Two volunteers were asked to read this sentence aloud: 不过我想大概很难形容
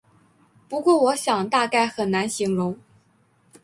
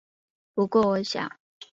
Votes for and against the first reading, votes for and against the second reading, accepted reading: 3, 0, 0, 3, first